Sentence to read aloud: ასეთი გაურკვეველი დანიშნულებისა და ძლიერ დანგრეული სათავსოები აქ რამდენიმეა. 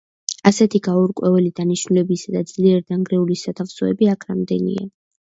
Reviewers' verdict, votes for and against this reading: rejected, 0, 2